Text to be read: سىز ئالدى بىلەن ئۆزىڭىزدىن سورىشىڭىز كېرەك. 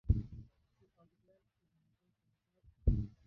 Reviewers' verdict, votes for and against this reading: rejected, 0, 2